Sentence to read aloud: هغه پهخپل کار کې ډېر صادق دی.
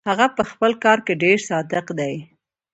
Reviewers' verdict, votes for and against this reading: accepted, 2, 0